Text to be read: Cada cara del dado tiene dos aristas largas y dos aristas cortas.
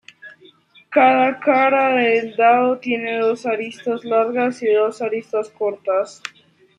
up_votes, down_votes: 1, 2